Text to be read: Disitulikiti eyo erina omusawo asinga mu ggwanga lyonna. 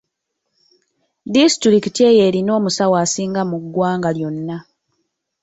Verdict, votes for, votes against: rejected, 1, 2